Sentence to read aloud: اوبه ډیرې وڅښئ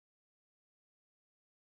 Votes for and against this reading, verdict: 1, 2, rejected